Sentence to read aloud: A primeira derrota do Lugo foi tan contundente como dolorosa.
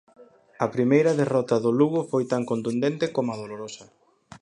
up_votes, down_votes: 4, 2